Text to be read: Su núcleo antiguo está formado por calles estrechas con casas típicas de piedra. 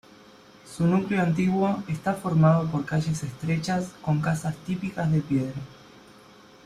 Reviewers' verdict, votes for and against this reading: accepted, 2, 0